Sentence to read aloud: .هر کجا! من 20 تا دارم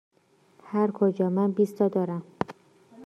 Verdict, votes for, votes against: rejected, 0, 2